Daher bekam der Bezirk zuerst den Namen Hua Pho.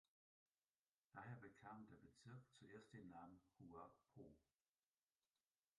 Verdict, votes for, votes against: rejected, 0, 2